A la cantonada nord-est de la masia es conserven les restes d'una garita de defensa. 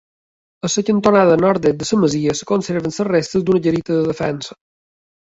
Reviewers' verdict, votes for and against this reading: accepted, 2, 0